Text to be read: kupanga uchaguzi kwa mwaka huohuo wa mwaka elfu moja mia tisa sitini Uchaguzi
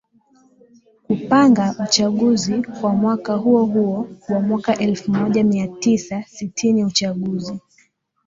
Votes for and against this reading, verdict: 4, 1, accepted